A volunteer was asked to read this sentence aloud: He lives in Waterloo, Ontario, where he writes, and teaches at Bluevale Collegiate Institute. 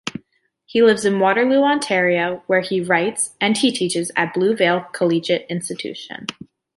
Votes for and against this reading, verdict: 1, 2, rejected